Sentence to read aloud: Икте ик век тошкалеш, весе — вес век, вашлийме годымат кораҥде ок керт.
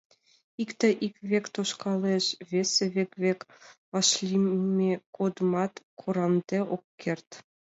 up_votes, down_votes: 1, 2